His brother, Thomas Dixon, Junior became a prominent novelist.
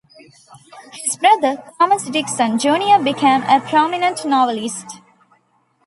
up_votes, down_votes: 1, 2